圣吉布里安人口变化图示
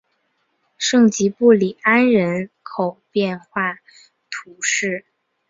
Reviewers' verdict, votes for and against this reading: accepted, 4, 0